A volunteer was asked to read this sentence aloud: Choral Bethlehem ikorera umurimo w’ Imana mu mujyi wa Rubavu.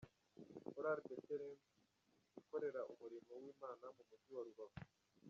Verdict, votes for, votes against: rejected, 1, 2